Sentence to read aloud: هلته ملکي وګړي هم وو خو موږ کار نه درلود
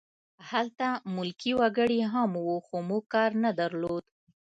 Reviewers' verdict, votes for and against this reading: accepted, 2, 0